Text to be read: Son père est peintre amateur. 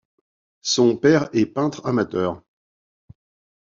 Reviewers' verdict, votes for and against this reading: accepted, 2, 0